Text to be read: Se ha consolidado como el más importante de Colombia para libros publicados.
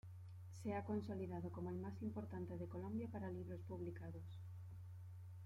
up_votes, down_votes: 1, 2